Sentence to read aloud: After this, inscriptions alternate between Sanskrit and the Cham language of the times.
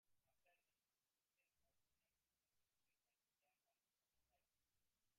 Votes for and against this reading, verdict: 0, 2, rejected